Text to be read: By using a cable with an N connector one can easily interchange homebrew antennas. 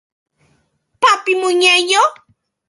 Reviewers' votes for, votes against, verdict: 0, 2, rejected